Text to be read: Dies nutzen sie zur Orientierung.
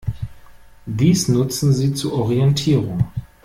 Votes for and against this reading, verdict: 2, 0, accepted